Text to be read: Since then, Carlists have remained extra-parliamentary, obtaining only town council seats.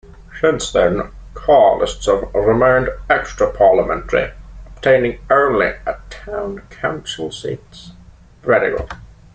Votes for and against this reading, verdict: 2, 0, accepted